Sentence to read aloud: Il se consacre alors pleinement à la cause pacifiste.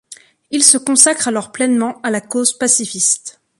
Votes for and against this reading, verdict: 2, 0, accepted